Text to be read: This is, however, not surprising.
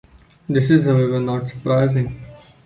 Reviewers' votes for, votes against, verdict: 2, 0, accepted